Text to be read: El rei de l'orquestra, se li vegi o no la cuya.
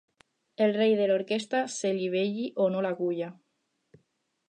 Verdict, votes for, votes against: rejected, 4, 4